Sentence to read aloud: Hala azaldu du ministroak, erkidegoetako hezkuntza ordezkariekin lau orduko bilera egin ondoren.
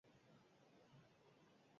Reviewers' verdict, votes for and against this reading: rejected, 0, 2